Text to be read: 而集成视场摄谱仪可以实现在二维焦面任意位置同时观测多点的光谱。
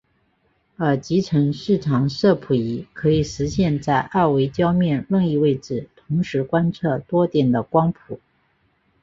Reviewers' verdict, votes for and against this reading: accepted, 2, 0